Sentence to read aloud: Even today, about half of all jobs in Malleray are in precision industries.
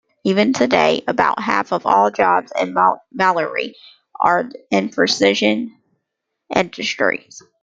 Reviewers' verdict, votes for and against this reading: rejected, 0, 2